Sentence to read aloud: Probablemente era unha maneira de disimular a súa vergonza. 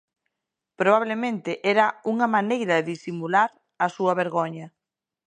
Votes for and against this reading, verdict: 0, 2, rejected